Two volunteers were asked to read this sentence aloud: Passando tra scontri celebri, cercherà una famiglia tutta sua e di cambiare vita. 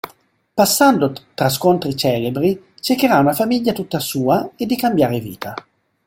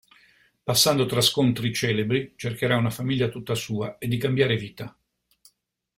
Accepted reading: second